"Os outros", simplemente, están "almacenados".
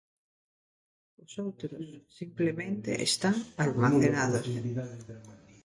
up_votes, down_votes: 0, 2